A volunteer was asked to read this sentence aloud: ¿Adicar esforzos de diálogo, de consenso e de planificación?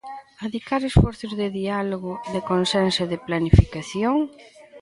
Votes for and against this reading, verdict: 1, 2, rejected